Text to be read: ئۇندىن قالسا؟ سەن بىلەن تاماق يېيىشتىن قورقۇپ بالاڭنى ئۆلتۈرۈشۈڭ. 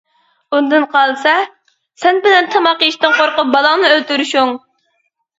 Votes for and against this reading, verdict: 2, 0, accepted